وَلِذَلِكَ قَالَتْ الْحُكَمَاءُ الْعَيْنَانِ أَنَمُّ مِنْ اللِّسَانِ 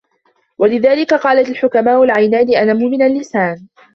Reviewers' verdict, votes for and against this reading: accepted, 2, 1